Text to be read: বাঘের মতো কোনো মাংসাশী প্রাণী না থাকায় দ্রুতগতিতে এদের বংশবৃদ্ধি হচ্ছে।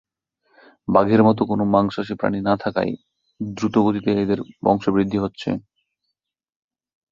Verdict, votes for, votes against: accepted, 2, 0